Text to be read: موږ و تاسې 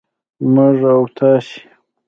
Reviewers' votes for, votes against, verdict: 2, 1, accepted